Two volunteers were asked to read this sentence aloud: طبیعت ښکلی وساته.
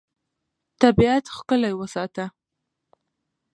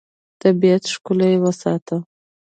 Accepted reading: first